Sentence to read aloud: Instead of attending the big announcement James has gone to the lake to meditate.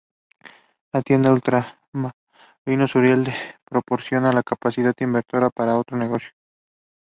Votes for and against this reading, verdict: 0, 2, rejected